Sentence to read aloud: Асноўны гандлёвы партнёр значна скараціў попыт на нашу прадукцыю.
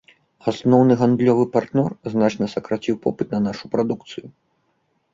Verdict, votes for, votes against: rejected, 0, 2